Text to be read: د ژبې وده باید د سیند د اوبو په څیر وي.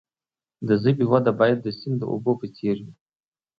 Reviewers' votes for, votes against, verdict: 2, 0, accepted